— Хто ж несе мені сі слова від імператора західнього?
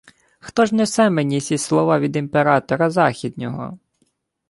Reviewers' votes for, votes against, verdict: 2, 0, accepted